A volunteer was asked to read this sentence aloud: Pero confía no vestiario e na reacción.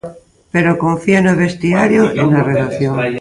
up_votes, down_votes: 0, 2